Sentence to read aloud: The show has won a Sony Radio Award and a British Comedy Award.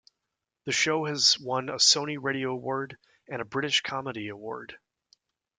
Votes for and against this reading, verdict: 2, 0, accepted